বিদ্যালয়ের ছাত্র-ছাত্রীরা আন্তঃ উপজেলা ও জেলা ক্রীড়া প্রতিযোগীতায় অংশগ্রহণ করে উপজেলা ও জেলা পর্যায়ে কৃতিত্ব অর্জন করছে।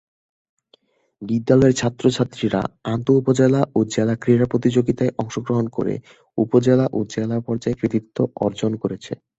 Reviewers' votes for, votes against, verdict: 9, 0, accepted